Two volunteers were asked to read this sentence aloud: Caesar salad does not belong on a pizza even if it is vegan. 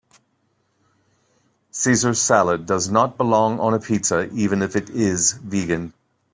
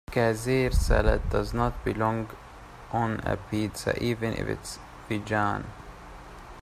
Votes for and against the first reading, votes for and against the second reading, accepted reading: 2, 0, 0, 2, first